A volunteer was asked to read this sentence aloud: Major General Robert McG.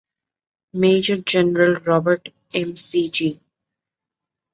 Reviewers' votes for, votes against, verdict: 2, 1, accepted